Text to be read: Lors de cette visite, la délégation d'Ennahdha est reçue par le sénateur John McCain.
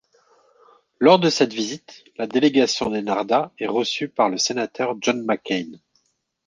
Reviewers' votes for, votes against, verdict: 2, 0, accepted